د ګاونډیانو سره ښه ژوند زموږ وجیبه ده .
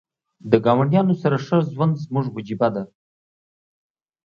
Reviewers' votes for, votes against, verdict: 2, 0, accepted